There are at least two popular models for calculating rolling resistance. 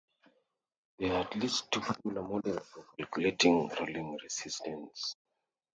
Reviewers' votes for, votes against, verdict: 1, 2, rejected